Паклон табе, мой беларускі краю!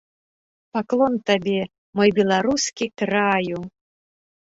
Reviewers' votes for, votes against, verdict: 3, 0, accepted